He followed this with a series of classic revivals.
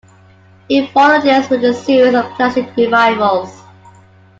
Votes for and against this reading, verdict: 2, 1, accepted